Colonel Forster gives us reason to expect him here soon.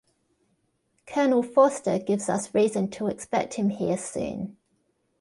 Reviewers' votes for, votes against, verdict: 1, 2, rejected